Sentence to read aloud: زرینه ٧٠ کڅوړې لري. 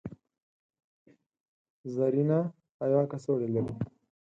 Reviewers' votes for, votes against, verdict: 0, 2, rejected